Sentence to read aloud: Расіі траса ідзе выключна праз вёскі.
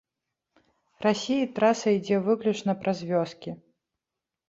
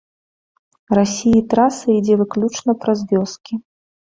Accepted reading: second